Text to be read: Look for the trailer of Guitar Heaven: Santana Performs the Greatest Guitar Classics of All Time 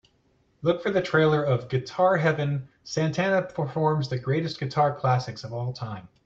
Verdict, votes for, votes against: accepted, 2, 0